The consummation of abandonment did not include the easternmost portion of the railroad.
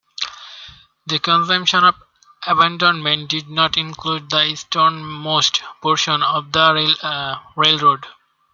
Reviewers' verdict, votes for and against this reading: rejected, 0, 2